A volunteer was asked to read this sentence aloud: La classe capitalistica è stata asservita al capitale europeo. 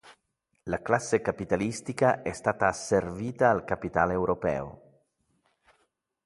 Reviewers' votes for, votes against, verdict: 2, 0, accepted